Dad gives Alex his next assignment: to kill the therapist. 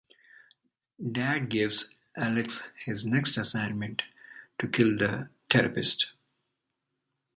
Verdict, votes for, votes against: accepted, 2, 1